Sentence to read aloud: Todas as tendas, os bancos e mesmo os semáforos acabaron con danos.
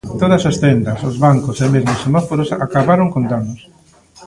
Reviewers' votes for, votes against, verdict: 0, 2, rejected